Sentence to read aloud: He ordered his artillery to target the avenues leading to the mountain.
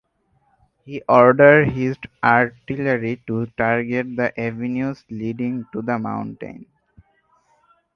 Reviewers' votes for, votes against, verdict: 2, 4, rejected